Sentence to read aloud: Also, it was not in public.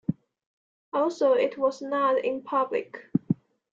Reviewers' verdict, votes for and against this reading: accepted, 2, 0